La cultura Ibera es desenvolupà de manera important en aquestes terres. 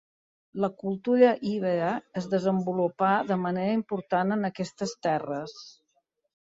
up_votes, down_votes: 2, 0